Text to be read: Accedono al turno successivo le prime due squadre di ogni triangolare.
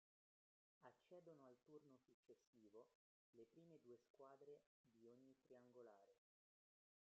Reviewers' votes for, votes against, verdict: 0, 2, rejected